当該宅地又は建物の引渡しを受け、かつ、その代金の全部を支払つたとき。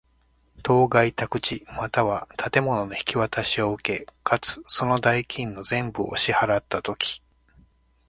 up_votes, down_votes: 2, 0